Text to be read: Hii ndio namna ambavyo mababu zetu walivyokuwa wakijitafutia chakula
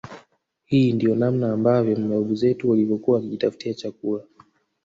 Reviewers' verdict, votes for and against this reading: rejected, 0, 2